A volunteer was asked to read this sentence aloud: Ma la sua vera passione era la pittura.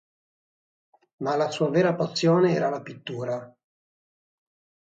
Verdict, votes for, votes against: accepted, 6, 0